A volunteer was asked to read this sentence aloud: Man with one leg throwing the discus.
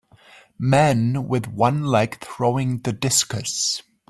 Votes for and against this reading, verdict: 2, 1, accepted